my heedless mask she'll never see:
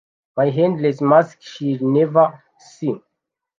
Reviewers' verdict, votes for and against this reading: rejected, 1, 2